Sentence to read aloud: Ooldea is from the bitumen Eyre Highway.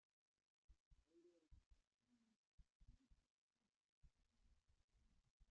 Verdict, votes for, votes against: rejected, 0, 2